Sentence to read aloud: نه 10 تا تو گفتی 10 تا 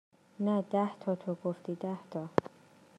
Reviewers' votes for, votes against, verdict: 0, 2, rejected